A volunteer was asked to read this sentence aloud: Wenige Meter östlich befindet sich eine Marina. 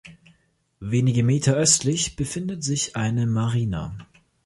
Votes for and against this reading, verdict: 2, 0, accepted